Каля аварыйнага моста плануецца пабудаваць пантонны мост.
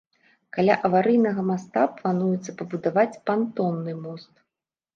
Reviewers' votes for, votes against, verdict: 0, 2, rejected